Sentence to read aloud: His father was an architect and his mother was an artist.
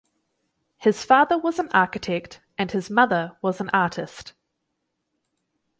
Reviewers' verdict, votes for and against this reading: accepted, 6, 0